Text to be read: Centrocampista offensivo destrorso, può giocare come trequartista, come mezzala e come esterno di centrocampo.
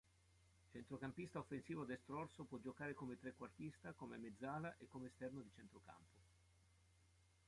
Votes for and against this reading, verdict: 2, 1, accepted